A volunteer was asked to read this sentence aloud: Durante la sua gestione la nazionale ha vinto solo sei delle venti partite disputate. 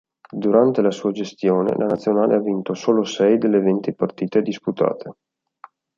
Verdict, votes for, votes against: accepted, 2, 0